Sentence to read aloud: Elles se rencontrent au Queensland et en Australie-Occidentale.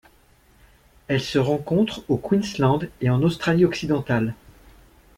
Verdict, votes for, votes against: accepted, 2, 0